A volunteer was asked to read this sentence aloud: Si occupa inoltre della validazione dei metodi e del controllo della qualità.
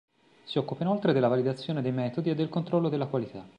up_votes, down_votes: 2, 0